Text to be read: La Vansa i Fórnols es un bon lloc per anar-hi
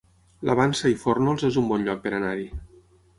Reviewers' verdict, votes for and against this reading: accepted, 6, 0